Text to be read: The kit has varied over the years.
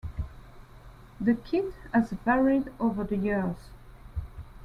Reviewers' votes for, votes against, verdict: 2, 1, accepted